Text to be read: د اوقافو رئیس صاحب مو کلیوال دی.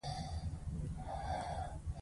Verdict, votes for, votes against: rejected, 1, 2